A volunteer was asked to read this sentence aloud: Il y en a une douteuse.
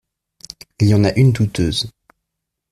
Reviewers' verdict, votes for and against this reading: accepted, 2, 0